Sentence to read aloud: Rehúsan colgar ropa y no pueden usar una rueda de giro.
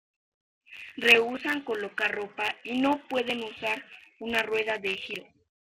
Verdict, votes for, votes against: rejected, 1, 2